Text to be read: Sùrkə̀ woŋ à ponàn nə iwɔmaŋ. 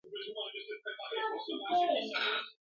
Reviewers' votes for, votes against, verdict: 0, 2, rejected